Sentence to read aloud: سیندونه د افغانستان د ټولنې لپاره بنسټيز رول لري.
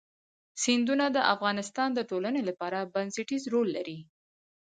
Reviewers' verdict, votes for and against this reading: accepted, 2, 0